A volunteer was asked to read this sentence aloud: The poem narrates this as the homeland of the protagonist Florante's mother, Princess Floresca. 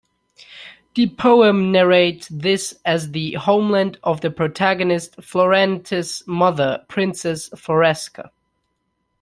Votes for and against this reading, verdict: 2, 1, accepted